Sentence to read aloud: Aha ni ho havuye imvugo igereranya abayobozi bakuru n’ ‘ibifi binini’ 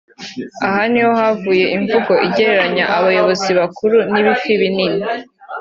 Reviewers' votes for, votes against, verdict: 2, 0, accepted